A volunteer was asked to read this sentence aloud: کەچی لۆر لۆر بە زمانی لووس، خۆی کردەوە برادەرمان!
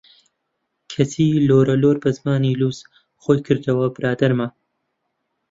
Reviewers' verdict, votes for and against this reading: rejected, 0, 2